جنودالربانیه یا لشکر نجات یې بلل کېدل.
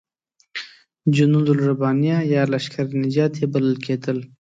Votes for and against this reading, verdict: 2, 0, accepted